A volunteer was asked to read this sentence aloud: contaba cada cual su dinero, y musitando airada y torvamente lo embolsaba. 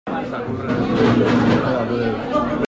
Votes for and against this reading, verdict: 0, 2, rejected